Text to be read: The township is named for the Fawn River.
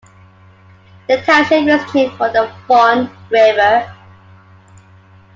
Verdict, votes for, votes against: rejected, 1, 2